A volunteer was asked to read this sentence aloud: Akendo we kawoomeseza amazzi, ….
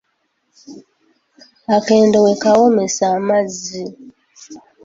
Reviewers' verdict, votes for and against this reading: rejected, 1, 2